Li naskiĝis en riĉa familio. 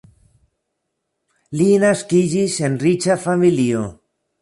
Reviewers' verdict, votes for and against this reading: accepted, 2, 0